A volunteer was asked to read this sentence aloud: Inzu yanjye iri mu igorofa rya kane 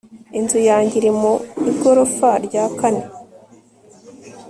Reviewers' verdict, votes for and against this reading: accepted, 3, 0